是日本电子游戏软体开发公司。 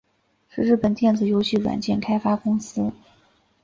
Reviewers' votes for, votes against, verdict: 1, 2, rejected